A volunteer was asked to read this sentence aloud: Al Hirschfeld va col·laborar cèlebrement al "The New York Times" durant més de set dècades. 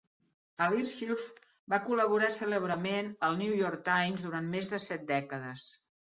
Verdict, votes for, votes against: accepted, 2, 0